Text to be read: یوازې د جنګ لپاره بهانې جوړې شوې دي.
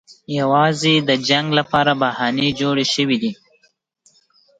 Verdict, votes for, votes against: accepted, 2, 0